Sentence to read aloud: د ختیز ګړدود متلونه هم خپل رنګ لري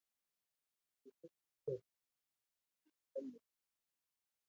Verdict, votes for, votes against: rejected, 0, 2